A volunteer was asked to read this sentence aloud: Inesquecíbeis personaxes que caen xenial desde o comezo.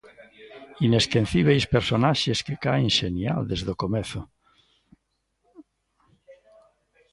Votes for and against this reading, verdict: 0, 2, rejected